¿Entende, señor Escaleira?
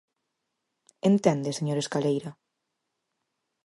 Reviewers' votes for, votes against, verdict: 4, 0, accepted